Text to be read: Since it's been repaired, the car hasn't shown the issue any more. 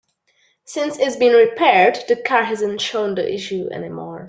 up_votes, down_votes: 2, 0